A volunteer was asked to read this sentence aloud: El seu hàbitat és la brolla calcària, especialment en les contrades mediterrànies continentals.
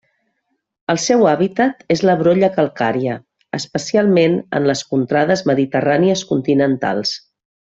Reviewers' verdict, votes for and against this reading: accepted, 3, 0